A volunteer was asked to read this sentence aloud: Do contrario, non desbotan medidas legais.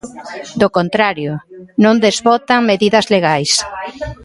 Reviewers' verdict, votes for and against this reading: rejected, 1, 2